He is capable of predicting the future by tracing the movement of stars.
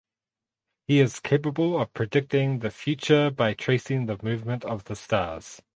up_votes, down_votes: 0, 2